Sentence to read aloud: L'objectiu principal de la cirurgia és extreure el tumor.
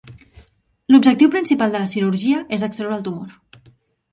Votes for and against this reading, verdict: 2, 0, accepted